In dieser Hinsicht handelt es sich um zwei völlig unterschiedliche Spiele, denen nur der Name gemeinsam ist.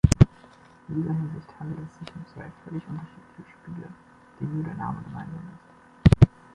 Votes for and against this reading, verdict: 2, 1, accepted